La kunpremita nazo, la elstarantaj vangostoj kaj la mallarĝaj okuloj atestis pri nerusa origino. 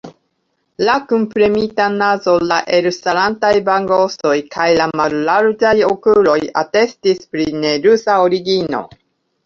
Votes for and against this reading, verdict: 1, 3, rejected